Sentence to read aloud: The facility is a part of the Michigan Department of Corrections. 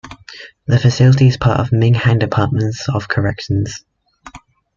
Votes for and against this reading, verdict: 0, 2, rejected